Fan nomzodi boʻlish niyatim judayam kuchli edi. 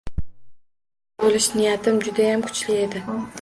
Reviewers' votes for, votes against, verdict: 1, 2, rejected